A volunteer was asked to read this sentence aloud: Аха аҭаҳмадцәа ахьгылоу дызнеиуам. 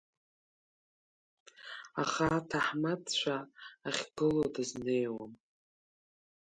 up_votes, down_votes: 1, 2